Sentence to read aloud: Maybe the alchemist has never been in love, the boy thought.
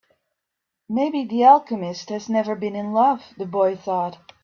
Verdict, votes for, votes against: accepted, 4, 0